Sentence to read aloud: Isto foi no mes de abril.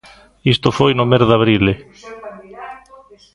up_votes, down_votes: 1, 2